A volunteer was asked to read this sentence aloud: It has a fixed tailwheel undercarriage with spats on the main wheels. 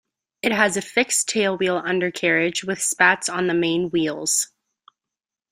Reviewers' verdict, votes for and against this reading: accepted, 2, 0